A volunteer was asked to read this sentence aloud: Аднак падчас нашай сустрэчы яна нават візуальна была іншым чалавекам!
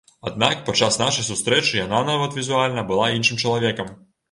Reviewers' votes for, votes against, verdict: 2, 0, accepted